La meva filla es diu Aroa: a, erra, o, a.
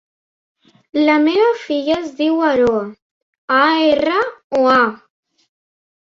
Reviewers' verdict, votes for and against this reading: accepted, 3, 0